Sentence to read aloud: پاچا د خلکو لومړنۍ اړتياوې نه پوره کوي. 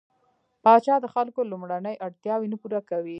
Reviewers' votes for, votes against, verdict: 0, 2, rejected